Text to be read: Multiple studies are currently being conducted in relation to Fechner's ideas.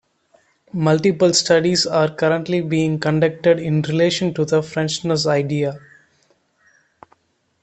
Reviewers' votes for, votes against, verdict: 1, 2, rejected